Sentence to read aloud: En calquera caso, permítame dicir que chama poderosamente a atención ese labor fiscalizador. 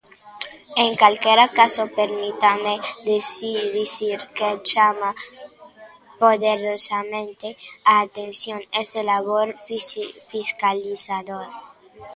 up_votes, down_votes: 0, 3